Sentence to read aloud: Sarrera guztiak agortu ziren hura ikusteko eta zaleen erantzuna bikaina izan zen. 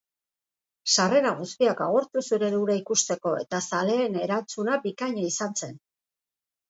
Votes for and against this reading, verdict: 3, 1, accepted